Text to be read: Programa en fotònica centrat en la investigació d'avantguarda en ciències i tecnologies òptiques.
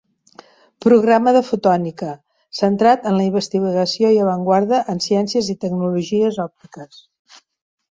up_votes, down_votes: 0, 2